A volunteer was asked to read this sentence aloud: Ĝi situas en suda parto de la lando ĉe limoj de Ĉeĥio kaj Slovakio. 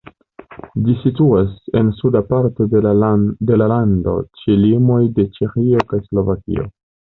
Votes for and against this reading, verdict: 1, 2, rejected